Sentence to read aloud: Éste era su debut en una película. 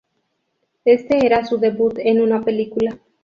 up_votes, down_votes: 2, 2